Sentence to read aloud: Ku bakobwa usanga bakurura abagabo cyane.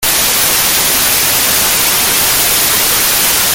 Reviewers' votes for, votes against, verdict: 0, 2, rejected